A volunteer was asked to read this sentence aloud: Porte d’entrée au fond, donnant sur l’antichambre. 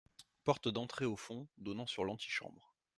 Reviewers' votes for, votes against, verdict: 2, 0, accepted